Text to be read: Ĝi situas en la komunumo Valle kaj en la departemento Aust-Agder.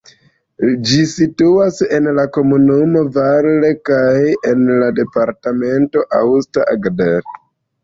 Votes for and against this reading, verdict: 0, 2, rejected